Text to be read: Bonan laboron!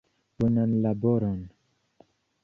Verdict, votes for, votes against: accepted, 2, 1